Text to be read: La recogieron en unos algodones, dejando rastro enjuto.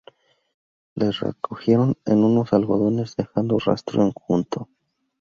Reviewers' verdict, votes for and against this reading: rejected, 0, 2